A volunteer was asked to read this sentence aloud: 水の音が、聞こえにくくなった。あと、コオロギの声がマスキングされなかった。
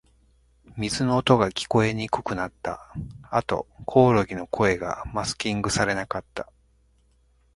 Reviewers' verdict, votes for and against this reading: accepted, 3, 0